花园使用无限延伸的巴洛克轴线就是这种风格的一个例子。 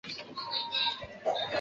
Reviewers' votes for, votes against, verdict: 0, 2, rejected